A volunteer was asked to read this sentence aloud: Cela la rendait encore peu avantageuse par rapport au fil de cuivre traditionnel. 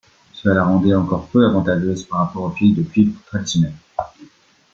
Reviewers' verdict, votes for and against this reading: accepted, 2, 1